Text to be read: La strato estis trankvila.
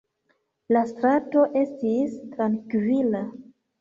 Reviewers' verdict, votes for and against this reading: rejected, 1, 2